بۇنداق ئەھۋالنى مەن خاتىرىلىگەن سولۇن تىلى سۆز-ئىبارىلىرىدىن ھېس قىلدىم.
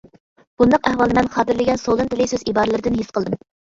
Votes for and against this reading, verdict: 0, 2, rejected